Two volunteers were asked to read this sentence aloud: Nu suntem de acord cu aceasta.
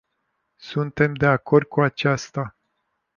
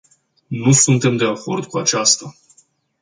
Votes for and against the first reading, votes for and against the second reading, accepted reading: 0, 2, 2, 0, second